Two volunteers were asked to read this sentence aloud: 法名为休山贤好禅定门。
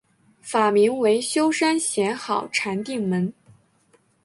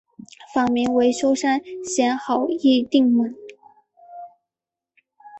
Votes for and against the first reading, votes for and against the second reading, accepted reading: 2, 0, 0, 4, first